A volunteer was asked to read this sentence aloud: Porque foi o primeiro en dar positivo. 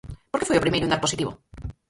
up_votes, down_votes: 0, 4